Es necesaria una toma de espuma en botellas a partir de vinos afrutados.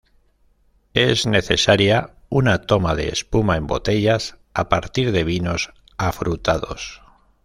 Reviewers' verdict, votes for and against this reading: accepted, 2, 0